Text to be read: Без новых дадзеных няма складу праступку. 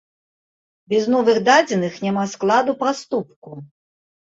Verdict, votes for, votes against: accepted, 2, 0